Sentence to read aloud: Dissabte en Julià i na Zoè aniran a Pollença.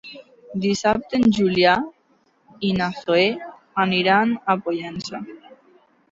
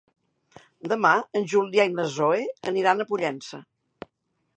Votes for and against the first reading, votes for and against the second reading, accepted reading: 2, 1, 0, 2, first